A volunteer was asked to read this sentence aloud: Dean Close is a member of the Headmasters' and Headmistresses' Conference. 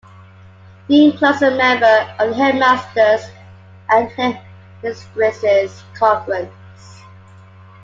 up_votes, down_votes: 2, 1